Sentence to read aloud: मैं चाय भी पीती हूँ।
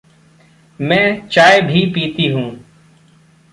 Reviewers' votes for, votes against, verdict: 2, 0, accepted